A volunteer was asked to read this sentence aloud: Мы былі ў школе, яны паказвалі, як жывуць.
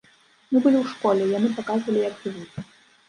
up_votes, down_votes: 1, 2